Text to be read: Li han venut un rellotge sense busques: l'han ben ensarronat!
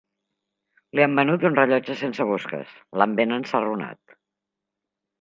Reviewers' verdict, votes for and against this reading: accepted, 3, 0